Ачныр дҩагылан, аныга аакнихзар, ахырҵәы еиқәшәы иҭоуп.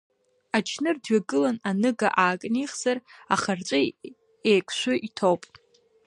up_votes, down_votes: 3, 1